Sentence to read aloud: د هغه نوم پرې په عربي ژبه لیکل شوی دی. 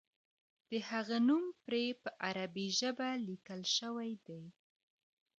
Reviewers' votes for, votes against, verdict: 1, 2, rejected